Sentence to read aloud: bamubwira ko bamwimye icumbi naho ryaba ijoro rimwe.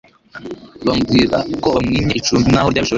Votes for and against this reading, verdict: 1, 2, rejected